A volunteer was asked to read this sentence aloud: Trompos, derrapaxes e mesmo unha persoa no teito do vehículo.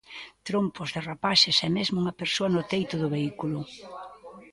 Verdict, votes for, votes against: rejected, 0, 2